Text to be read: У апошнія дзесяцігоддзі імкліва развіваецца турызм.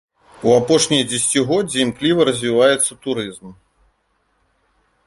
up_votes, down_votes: 2, 0